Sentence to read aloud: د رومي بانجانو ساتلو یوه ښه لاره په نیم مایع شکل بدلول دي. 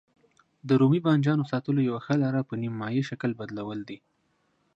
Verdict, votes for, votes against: accepted, 2, 0